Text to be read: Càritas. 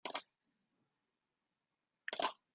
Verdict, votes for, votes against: rejected, 0, 2